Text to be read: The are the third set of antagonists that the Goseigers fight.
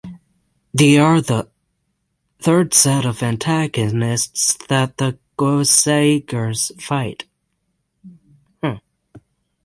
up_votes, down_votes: 6, 3